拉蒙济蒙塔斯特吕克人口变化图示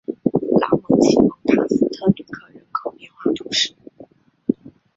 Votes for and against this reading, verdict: 0, 3, rejected